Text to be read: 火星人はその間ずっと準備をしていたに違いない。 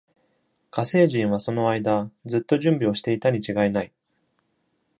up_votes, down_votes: 2, 0